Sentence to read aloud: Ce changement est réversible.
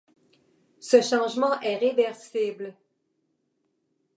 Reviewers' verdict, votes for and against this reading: accepted, 2, 0